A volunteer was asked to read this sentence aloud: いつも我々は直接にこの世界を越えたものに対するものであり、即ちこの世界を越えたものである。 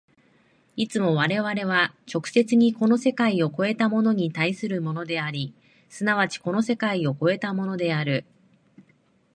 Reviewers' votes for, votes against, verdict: 1, 2, rejected